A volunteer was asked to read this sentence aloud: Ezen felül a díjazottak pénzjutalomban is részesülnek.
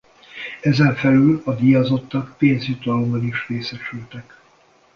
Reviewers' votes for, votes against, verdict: 1, 2, rejected